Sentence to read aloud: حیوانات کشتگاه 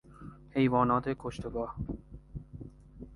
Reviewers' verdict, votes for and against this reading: rejected, 0, 2